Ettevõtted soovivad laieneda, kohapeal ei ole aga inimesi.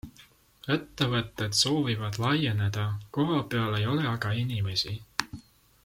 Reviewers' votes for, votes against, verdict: 2, 0, accepted